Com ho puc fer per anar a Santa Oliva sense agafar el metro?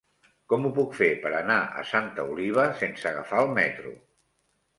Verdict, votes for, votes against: rejected, 0, 2